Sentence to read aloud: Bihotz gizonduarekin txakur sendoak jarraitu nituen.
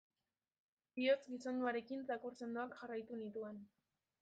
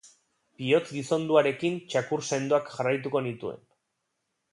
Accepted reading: first